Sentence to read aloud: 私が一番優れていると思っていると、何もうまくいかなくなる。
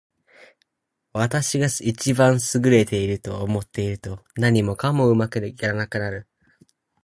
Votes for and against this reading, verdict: 0, 4, rejected